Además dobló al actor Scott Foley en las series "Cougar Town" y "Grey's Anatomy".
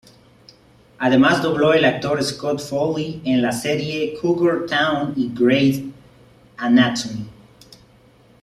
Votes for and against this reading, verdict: 1, 2, rejected